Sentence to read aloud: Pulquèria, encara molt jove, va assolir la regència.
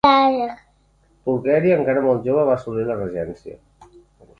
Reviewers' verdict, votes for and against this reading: rejected, 0, 2